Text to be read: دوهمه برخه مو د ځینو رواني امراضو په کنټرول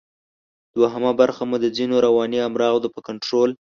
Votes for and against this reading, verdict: 2, 1, accepted